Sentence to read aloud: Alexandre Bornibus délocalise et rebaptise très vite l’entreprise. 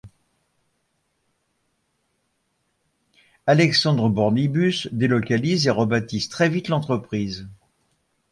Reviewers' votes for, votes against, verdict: 1, 2, rejected